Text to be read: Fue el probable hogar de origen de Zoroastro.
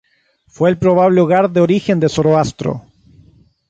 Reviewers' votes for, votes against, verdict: 3, 0, accepted